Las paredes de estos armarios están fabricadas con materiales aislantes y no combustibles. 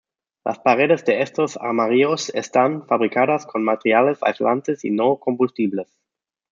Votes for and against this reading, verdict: 2, 0, accepted